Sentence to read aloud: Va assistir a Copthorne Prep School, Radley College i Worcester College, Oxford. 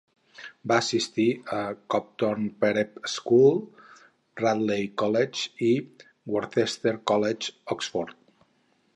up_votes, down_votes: 0, 2